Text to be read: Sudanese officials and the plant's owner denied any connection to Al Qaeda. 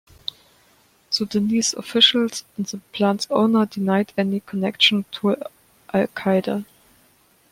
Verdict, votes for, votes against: accepted, 2, 0